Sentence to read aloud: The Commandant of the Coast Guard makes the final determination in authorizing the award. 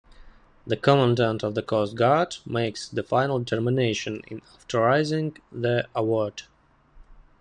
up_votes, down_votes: 1, 2